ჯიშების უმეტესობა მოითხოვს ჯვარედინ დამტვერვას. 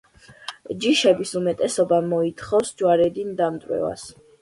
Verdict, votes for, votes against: accepted, 2, 1